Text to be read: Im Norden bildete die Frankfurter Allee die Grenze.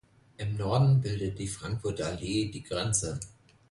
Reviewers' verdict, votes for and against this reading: rejected, 1, 2